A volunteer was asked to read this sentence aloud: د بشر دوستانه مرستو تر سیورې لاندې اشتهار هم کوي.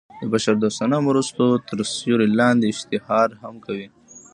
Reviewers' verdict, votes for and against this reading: rejected, 1, 2